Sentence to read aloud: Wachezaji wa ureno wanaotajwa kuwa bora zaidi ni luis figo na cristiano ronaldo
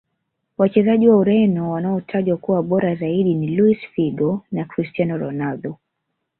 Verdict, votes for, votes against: accepted, 2, 0